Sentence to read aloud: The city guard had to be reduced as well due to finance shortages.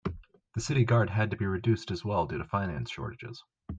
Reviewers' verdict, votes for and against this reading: accepted, 2, 0